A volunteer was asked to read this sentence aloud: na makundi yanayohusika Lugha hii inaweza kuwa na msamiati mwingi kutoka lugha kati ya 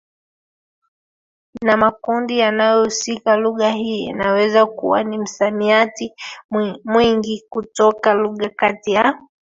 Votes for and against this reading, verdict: 2, 1, accepted